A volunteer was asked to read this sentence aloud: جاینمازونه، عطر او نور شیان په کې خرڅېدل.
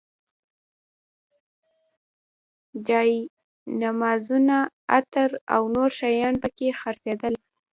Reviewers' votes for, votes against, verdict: 0, 2, rejected